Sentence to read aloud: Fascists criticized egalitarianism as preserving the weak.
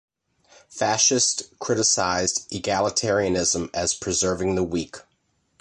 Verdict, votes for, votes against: accepted, 2, 0